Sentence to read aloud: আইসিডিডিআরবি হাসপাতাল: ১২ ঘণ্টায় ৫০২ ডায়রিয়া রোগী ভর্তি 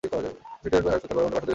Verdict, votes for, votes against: rejected, 0, 2